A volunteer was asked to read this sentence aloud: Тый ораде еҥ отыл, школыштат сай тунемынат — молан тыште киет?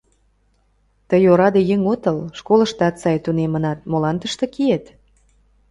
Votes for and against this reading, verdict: 2, 0, accepted